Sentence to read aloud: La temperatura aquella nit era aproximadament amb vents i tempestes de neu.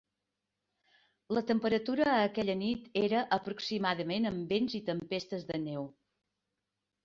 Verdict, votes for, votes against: rejected, 1, 2